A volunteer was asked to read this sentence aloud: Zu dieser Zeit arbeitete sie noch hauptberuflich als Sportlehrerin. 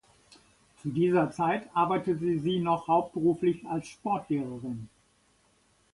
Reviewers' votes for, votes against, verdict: 1, 2, rejected